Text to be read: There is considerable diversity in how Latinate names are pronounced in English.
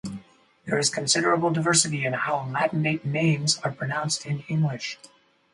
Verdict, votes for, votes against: rejected, 2, 2